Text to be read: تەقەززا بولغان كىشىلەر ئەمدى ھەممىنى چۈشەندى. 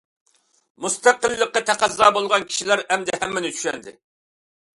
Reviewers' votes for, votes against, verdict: 0, 2, rejected